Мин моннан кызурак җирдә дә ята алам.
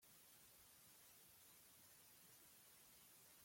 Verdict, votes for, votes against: rejected, 0, 2